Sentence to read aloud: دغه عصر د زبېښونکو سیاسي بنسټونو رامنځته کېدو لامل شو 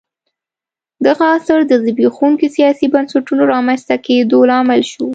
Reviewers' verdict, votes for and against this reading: accepted, 2, 0